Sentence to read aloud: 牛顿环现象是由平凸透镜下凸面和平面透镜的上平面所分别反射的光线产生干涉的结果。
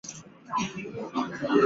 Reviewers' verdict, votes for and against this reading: rejected, 0, 2